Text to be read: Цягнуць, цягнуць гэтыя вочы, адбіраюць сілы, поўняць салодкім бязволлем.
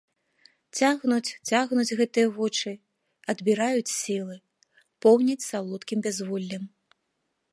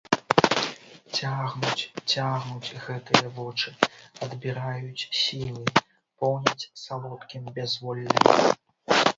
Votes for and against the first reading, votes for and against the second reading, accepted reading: 2, 0, 0, 3, first